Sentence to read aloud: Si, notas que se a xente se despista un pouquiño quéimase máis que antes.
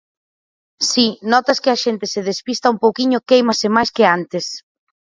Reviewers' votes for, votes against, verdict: 0, 4, rejected